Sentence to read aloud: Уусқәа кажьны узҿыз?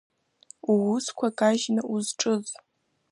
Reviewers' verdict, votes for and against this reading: accepted, 2, 0